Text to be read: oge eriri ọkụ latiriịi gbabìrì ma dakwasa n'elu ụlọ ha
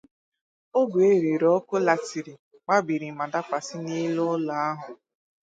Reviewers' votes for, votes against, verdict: 0, 2, rejected